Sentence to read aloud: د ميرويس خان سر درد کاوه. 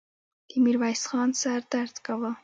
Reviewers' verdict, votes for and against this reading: rejected, 1, 2